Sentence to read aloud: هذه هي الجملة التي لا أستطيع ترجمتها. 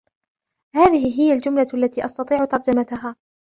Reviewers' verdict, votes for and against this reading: rejected, 0, 3